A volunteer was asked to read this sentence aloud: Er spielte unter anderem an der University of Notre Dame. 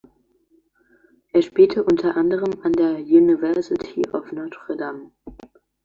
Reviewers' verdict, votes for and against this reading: accepted, 2, 0